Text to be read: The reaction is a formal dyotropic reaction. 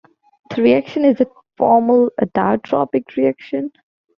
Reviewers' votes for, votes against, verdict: 2, 0, accepted